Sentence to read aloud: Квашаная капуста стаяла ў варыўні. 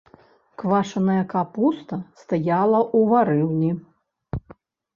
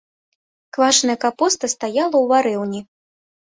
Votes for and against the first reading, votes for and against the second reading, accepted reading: 1, 2, 2, 0, second